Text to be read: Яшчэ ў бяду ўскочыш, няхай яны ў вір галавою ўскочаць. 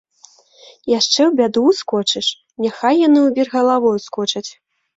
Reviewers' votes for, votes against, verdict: 2, 0, accepted